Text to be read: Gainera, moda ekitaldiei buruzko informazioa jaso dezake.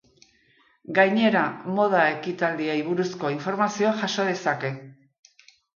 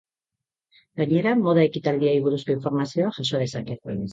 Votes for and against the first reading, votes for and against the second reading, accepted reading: 2, 1, 1, 3, first